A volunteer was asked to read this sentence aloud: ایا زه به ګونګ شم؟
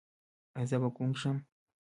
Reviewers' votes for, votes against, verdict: 2, 1, accepted